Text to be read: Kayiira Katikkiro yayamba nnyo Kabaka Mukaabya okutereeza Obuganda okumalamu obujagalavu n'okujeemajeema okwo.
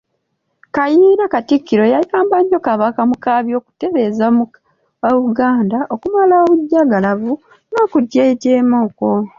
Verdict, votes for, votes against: rejected, 1, 2